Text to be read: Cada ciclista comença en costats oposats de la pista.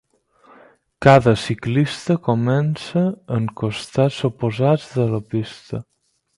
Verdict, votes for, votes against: accepted, 4, 0